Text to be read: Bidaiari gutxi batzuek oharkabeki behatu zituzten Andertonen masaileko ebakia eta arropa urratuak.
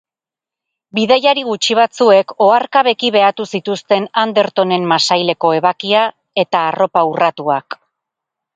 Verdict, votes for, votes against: rejected, 2, 2